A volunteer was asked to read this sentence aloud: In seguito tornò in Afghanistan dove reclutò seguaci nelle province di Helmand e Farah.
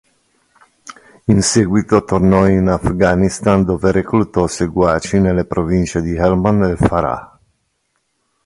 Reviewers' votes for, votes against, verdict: 2, 0, accepted